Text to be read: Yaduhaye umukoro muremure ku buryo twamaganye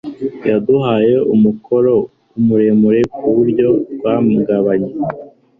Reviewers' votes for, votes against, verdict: 1, 2, rejected